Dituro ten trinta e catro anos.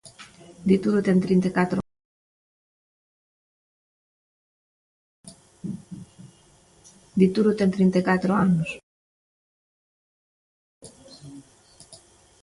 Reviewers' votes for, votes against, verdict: 0, 2, rejected